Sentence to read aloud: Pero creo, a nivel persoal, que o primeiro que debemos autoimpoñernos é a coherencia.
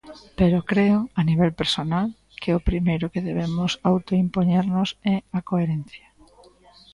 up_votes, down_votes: 0, 2